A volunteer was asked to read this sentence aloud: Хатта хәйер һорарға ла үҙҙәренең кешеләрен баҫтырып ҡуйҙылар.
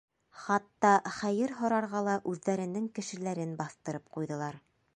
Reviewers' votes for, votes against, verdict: 2, 1, accepted